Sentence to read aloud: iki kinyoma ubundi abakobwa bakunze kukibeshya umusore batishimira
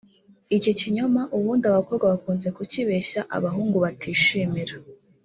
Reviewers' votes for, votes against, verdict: 1, 2, rejected